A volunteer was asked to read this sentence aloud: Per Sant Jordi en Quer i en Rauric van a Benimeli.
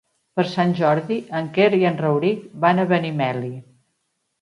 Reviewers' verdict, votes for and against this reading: accepted, 3, 0